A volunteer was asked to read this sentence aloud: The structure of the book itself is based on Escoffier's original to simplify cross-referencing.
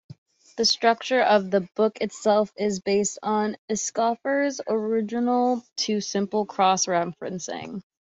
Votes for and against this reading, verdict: 0, 2, rejected